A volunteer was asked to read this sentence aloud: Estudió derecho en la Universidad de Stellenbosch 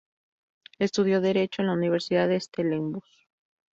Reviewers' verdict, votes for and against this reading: rejected, 0, 2